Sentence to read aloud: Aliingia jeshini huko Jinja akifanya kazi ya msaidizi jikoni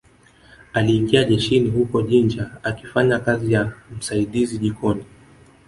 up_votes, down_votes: 1, 2